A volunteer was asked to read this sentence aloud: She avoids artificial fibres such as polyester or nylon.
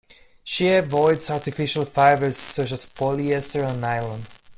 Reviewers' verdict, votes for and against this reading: accepted, 2, 0